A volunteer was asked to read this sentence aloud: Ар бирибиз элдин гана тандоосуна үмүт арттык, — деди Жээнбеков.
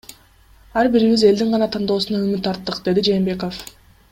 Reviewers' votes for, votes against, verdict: 2, 0, accepted